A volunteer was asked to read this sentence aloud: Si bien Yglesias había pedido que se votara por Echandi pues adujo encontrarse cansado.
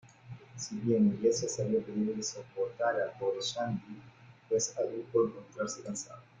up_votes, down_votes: 0, 2